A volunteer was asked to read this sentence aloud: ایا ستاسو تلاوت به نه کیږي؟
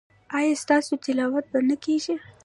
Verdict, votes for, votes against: accepted, 2, 1